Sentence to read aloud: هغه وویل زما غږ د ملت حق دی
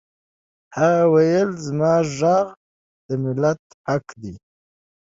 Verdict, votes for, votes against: accepted, 3, 0